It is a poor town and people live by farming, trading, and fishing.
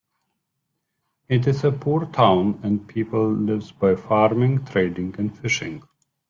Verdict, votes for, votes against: rejected, 0, 2